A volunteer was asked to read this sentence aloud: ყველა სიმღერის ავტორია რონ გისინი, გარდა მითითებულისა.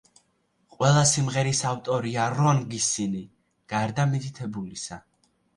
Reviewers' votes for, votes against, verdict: 3, 0, accepted